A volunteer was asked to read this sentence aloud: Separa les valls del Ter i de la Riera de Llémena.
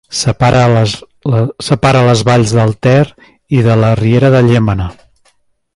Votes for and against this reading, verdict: 1, 2, rejected